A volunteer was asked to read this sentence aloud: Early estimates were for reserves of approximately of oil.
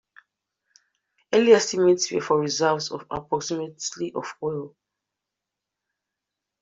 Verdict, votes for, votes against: rejected, 0, 2